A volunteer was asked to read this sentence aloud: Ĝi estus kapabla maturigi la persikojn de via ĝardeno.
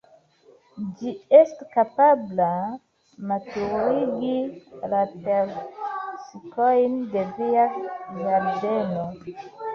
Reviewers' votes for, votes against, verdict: 1, 2, rejected